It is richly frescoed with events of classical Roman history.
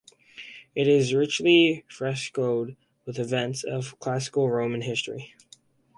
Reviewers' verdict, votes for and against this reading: accepted, 4, 0